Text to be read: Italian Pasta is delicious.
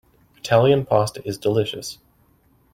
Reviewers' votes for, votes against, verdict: 2, 0, accepted